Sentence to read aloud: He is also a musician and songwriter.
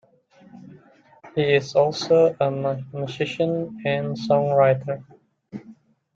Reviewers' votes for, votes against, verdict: 1, 2, rejected